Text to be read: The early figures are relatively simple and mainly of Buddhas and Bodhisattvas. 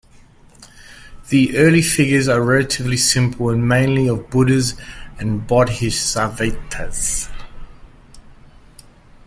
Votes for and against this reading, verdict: 1, 2, rejected